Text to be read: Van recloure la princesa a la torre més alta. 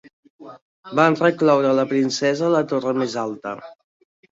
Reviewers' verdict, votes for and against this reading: accepted, 3, 0